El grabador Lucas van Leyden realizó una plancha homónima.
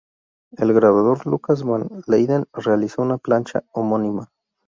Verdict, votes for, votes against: accepted, 12, 0